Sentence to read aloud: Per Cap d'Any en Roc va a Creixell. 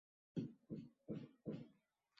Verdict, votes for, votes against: rejected, 0, 3